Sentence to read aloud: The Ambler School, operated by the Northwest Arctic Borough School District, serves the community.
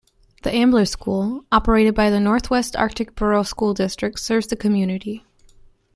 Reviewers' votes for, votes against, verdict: 2, 0, accepted